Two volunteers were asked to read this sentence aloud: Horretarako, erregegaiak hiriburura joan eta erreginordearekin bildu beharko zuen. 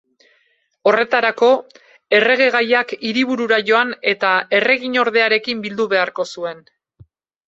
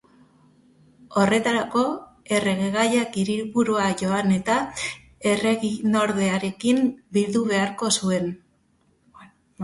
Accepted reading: first